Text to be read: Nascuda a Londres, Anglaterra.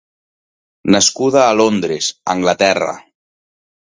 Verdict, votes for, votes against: accepted, 2, 0